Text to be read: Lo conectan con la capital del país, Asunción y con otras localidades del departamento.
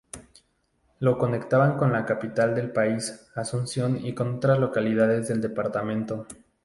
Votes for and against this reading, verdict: 0, 2, rejected